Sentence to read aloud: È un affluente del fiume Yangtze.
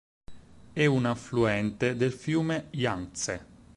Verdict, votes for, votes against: accepted, 4, 0